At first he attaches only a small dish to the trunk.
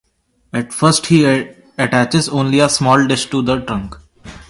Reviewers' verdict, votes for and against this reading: rejected, 0, 2